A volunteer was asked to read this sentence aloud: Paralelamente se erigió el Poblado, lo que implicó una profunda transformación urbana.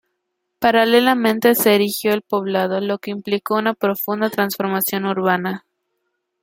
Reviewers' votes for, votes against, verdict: 2, 0, accepted